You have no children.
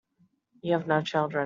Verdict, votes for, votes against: rejected, 1, 2